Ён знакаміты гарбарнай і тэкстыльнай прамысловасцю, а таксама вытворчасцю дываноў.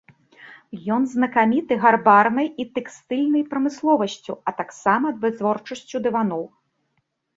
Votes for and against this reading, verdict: 2, 0, accepted